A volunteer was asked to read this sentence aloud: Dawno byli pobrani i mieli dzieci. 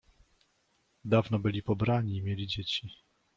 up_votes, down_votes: 2, 0